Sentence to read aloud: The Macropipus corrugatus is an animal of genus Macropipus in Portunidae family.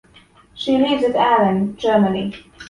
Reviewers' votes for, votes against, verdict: 0, 2, rejected